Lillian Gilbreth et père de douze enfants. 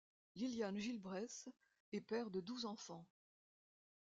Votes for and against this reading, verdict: 1, 2, rejected